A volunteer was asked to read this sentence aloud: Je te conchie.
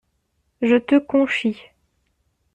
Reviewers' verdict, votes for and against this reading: accepted, 2, 0